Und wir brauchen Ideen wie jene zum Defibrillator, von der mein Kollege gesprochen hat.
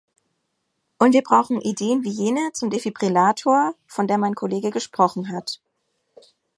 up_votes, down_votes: 2, 0